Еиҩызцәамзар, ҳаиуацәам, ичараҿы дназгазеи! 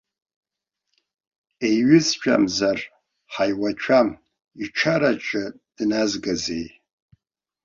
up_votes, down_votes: 0, 2